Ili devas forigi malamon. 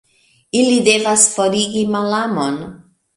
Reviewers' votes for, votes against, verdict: 1, 3, rejected